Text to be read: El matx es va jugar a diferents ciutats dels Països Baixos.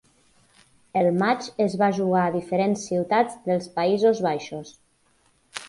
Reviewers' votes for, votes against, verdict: 4, 0, accepted